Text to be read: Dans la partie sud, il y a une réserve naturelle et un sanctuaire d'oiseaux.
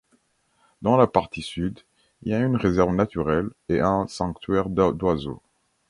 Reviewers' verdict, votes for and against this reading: rejected, 1, 3